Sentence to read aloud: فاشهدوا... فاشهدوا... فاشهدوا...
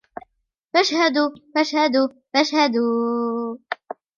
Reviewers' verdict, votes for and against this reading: accepted, 2, 0